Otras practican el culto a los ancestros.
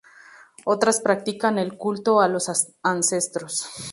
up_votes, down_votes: 0, 2